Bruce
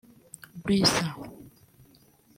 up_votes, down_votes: 1, 2